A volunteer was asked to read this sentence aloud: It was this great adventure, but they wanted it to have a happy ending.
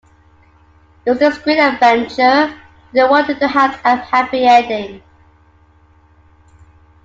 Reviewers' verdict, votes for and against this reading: rejected, 1, 2